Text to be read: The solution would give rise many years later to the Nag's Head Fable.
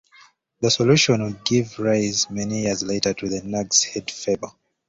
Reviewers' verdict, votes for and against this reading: accepted, 2, 0